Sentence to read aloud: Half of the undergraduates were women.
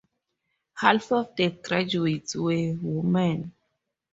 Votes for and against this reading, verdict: 0, 2, rejected